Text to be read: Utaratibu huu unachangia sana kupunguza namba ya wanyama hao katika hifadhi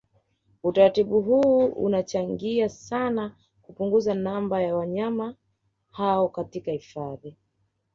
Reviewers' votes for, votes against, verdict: 2, 0, accepted